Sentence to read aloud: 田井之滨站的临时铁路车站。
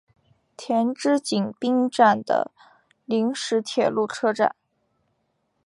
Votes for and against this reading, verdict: 2, 1, accepted